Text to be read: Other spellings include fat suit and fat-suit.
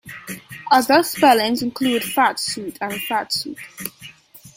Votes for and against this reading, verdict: 2, 1, accepted